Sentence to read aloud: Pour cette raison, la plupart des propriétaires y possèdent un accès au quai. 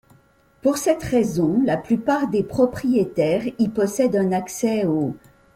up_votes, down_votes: 1, 2